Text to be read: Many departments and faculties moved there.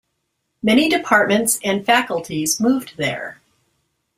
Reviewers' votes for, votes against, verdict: 2, 0, accepted